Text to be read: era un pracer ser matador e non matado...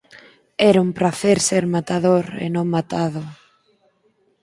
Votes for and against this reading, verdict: 4, 0, accepted